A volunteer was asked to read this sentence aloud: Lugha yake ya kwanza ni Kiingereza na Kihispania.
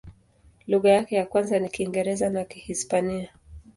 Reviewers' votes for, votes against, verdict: 2, 0, accepted